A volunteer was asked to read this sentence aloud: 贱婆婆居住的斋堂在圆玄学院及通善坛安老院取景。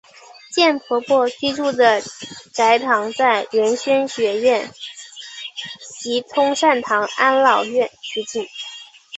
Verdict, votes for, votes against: rejected, 0, 2